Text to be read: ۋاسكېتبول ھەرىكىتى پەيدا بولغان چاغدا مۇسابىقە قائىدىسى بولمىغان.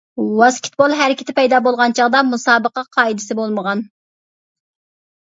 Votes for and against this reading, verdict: 2, 0, accepted